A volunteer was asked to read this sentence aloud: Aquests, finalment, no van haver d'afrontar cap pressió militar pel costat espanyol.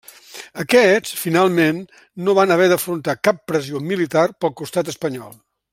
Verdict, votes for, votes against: rejected, 1, 2